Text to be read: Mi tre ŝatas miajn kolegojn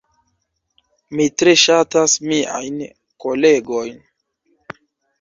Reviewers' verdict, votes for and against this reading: accepted, 2, 0